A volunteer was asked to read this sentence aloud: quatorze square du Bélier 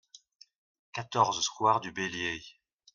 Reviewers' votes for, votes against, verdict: 2, 0, accepted